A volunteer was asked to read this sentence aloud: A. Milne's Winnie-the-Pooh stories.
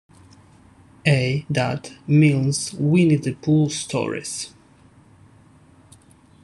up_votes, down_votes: 0, 2